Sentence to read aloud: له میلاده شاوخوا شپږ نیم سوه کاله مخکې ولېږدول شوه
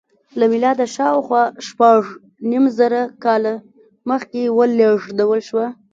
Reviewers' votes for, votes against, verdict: 1, 2, rejected